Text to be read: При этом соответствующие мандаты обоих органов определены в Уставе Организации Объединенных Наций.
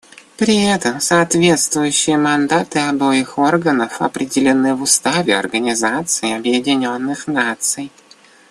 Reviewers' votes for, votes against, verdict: 0, 2, rejected